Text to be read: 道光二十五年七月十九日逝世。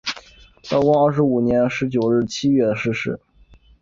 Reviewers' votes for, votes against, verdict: 0, 2, rejected